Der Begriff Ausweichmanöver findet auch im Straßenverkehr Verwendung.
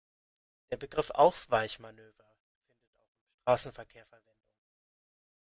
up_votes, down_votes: 0, 2